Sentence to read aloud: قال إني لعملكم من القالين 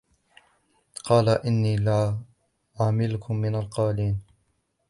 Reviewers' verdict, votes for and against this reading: rejected, 1, 2